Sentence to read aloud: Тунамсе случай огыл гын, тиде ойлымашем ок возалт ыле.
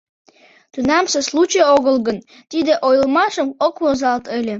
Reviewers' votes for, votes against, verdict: 0, 2, rejected